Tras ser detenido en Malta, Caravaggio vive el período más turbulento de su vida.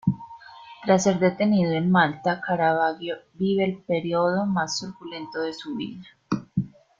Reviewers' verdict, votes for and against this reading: rejected, 1, 2